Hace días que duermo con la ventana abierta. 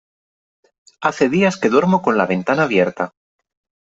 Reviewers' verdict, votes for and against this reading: accepted, 3, 0